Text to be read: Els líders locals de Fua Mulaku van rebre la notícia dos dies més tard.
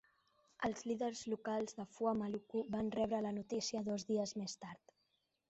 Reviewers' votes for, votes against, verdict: 1, 2, rejected